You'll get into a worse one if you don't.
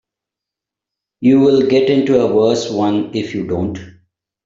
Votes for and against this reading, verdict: 2, 0, accepted